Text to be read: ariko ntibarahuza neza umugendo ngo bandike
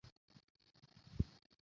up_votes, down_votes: 0, 2